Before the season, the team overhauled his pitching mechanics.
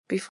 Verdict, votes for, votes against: rejected, 0, 2